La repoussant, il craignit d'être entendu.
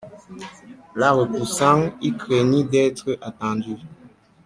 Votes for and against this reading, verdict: 1, 2, rejected